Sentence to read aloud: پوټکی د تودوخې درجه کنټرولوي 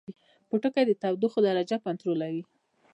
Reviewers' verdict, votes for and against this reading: rejected, 0, 2